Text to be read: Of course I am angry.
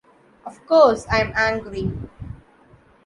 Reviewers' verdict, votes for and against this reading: accepted, 2, 0